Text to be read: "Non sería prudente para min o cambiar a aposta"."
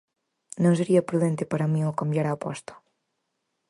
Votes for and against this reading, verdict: 4, 0, accepted